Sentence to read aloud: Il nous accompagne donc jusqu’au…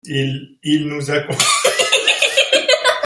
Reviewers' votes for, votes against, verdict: 0, 2, rejected